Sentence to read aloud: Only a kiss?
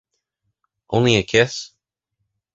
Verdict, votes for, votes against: accepted, 2, 0